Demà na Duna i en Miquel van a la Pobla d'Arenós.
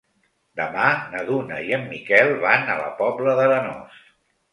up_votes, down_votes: 2, 0